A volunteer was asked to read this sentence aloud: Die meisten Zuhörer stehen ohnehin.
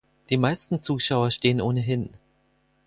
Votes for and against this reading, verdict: 0, 4, rejected